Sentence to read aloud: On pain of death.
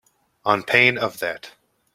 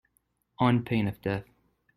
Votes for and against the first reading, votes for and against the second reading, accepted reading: 0, 2, 2, 0, second